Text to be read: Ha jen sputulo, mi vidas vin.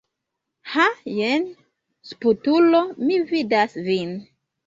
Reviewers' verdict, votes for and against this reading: accepted, 2, 0